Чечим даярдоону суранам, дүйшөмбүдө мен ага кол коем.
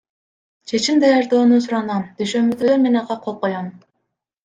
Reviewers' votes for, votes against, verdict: 2, 0, accepted